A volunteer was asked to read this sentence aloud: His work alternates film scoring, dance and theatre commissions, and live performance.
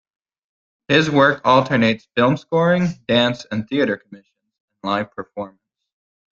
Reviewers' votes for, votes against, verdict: 0, 2, rejected